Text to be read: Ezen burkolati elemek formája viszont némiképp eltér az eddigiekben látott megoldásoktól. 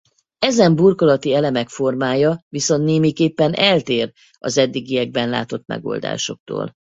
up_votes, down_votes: 0, 2